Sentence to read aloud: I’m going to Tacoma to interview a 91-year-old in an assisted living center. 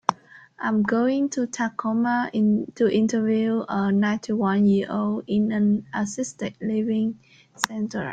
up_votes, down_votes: 0, 2